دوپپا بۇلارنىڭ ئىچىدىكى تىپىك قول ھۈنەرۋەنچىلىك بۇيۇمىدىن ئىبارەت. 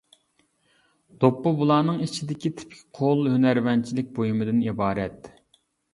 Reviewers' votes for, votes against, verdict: 2, 0, accepted